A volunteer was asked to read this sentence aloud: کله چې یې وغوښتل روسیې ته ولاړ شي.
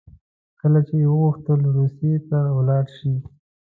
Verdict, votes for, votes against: accepted, 2, 0